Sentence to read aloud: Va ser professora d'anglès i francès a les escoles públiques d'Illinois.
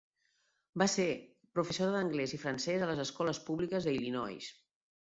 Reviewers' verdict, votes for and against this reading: rejected, 1, 2